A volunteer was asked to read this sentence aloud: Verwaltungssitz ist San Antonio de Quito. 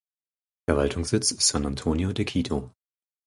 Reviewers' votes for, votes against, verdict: 2, 4, rejected